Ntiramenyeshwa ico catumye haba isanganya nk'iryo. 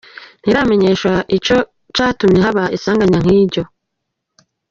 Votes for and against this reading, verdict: 1, 2, rejected